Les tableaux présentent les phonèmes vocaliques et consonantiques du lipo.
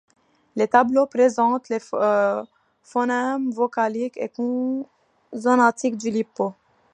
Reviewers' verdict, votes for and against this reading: rejected, 0, 2